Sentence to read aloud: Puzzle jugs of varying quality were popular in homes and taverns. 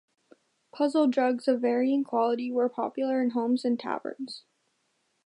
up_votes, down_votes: 2, 1